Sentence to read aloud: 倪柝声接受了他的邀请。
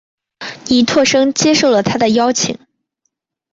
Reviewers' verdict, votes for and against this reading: accepted, 2, 0